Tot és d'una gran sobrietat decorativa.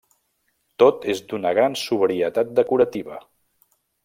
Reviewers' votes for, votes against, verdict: 1, 2, rejected